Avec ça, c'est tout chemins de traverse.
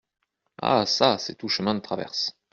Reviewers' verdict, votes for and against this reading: rejected, 1, 2